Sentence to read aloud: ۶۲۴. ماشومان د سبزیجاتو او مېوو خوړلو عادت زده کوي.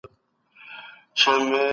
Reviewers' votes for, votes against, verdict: 0, 2, rejected